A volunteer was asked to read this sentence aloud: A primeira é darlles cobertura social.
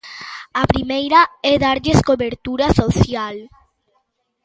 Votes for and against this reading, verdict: 2, 0, accepted